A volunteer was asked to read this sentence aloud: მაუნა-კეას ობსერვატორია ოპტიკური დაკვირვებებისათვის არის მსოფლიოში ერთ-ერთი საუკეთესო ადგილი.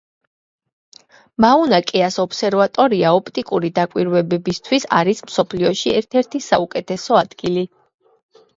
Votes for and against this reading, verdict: 2, 1, accepted